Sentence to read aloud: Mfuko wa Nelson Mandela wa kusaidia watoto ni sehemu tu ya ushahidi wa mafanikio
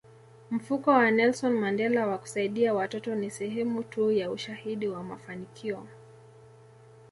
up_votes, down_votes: 2, 0